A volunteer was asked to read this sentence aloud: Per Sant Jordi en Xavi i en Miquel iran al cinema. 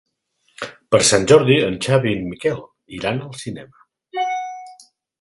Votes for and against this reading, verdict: 3, 0, accepted